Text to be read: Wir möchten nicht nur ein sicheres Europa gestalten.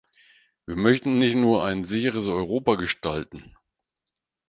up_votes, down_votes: 4, 0